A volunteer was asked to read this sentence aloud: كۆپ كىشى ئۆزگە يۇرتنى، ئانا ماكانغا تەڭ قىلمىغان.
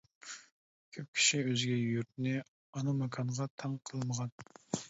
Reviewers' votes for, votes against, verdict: 2, 0, accepted